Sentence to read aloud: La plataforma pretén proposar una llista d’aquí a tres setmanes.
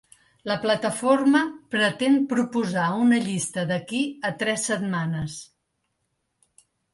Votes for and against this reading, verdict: 2, 0, accepted